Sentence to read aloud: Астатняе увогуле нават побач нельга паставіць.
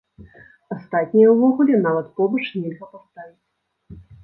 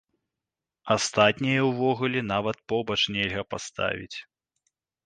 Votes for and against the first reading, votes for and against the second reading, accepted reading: 0, 2, 2, 1, second